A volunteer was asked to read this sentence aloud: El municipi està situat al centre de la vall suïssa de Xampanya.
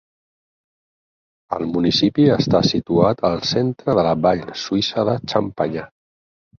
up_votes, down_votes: 0, 4